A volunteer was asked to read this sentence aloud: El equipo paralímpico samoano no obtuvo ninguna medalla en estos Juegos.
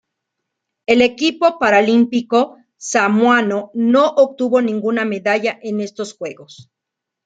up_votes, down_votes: 2, 0